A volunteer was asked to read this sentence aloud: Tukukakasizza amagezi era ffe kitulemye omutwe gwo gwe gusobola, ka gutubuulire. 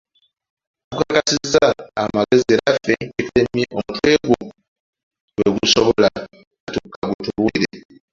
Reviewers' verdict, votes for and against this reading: rejected, 1, 2